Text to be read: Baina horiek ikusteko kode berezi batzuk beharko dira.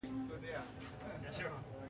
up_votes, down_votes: 0, 2